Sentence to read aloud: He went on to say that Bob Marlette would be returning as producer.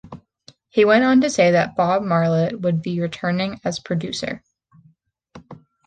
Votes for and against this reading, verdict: 2, 0, accepted